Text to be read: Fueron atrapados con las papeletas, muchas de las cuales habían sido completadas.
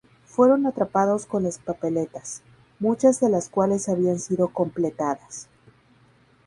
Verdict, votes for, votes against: accepted, 2, 0